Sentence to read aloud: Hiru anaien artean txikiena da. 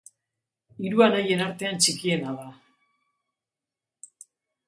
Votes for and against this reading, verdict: 2, 0, accepted